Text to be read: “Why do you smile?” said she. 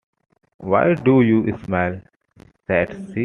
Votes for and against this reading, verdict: 2, 0, accepted